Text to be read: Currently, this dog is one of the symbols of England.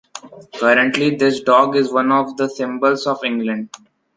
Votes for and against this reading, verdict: 2, 0, accepted